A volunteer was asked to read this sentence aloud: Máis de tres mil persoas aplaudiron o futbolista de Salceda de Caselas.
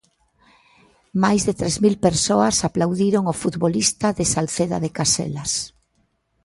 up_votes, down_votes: 2, 0